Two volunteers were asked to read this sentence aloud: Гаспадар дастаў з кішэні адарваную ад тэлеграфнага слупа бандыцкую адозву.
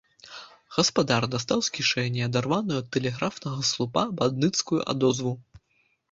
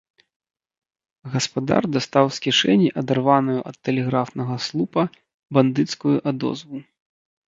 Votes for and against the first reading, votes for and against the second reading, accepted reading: 2, 0, 1, 2, first